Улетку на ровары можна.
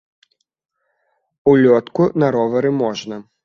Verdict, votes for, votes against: rejected, 0, 2